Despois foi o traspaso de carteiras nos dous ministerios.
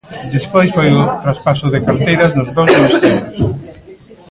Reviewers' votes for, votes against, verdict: 0, 2, rejected